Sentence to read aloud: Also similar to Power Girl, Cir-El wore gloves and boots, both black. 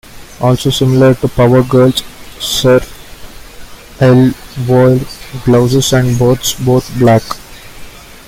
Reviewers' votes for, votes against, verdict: 1, 2, rejected